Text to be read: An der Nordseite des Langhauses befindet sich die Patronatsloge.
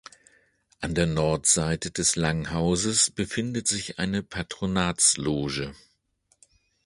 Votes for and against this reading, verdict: 0, 2, rejected